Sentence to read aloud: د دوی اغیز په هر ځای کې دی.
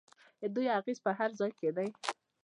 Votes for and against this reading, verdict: 2, 0, accepted